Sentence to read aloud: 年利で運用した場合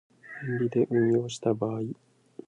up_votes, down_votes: 2, 0